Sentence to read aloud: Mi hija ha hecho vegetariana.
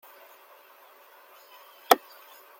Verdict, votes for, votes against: rejected, 0, 2